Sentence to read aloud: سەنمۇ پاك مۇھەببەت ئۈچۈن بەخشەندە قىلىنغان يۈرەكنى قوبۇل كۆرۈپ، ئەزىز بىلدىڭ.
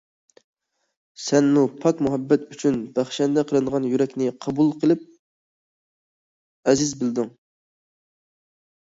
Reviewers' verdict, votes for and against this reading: rejected, 0, 2